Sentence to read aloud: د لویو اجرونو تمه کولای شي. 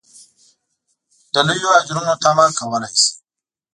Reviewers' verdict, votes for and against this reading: rejected, 1, 2